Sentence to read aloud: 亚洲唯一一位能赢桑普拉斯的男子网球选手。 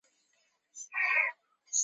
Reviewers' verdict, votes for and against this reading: rejected, 0, 2